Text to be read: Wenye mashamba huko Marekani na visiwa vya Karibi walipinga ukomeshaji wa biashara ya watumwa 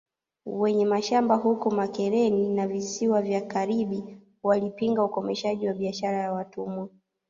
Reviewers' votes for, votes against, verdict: 1, 2, rejected